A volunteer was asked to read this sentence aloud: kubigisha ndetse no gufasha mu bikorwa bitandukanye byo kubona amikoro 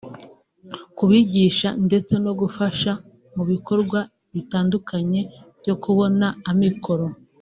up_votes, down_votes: 2, 0